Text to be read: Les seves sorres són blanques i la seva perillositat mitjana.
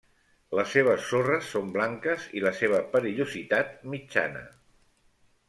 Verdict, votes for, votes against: rejected, 1, 2